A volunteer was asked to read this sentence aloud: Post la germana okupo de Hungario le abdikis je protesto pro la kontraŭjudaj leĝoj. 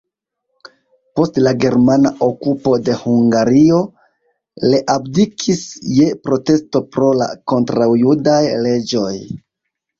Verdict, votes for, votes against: accepted, 2, 0